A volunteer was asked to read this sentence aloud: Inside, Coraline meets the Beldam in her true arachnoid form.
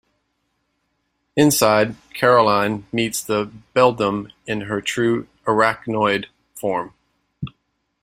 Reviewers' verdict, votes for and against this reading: rejected, 0, 2